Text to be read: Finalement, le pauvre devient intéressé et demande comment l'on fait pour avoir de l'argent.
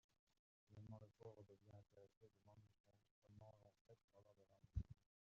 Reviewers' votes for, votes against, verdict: 0, 2, rejected